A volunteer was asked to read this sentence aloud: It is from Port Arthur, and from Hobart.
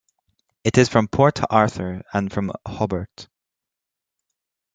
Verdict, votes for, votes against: accepted, 2, 0